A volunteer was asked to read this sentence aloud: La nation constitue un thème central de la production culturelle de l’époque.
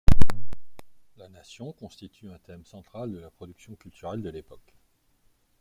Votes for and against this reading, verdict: 1, 2, rejected